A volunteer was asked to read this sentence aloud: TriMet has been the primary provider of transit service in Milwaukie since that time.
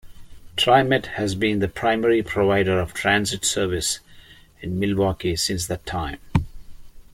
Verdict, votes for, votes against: accepted, 2, 0